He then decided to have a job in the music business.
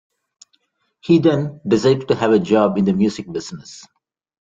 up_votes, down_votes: 2, 0